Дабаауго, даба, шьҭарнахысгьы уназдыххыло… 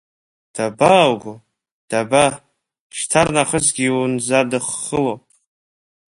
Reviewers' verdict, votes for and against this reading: rejected, 0, 2